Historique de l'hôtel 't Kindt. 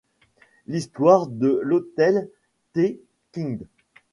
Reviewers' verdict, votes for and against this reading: rejected, 1, 2